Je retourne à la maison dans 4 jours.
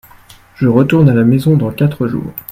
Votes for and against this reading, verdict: 0, 2, rejected